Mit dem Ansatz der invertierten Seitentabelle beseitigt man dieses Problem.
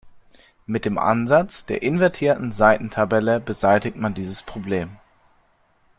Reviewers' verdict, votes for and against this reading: accepted, 2, 0